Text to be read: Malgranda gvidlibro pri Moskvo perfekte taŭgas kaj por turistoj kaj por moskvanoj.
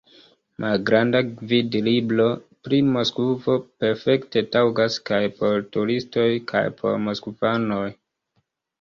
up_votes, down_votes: 1, 2